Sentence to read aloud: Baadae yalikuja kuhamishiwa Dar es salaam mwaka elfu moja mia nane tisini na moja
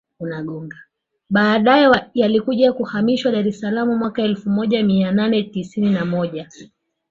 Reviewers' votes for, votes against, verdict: 1, 2, rejected